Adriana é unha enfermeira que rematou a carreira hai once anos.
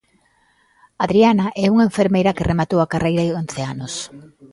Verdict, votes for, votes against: accepted, 2, 0